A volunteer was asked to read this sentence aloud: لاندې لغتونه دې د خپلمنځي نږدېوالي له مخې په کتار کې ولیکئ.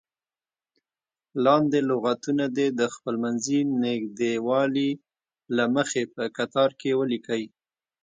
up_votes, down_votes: 2, 0